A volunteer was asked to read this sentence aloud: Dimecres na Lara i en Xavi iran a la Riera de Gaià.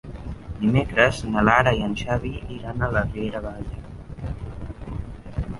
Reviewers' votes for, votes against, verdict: 2, 0, accepted